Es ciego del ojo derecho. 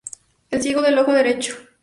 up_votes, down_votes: 2, 0